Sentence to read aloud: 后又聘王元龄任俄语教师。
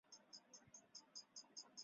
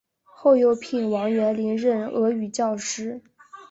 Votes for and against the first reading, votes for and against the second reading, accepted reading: 0, 4, 3, 0, second